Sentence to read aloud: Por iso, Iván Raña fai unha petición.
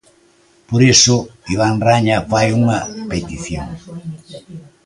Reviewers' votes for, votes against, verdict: 1, 2, rejected